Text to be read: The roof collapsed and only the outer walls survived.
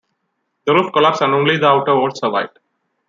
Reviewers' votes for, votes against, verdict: 0, 2, rejected